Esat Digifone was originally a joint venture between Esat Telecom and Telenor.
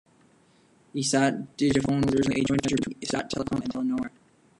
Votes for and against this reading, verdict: 0, 4, rejected